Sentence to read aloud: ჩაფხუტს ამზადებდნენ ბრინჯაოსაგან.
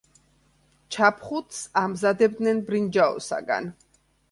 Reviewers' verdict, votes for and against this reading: accepted, 3, 0